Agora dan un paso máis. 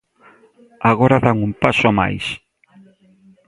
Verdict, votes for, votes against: accepted, 2, 0